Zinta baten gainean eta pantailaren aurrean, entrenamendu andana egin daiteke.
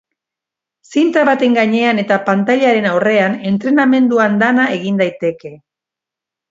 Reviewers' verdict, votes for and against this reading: accepted, 2, 0